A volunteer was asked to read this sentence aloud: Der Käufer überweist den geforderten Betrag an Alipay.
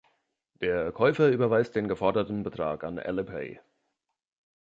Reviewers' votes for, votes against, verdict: 2, 3, rejected